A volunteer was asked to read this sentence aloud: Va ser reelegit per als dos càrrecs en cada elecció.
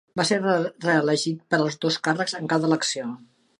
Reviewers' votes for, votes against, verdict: 2, 3, rejected